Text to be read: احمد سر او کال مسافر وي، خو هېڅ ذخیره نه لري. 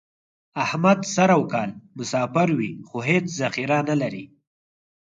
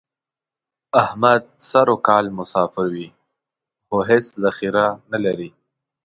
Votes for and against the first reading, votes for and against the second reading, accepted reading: 2, 4, 2, 0, second